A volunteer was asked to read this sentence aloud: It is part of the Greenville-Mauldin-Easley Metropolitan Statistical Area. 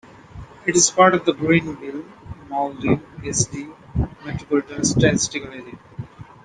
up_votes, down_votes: 2, 1